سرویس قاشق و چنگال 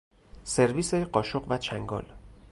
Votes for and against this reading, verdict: 4, 0, accepted